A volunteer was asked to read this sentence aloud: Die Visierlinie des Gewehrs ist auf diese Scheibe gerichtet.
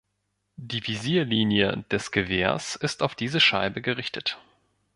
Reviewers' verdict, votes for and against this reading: accepted, 2, 0